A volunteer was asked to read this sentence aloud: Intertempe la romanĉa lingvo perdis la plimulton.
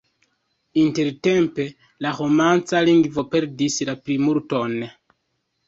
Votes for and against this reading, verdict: 2, 0, accepted